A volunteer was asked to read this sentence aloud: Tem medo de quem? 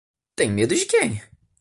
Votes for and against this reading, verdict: 2, 0, accepted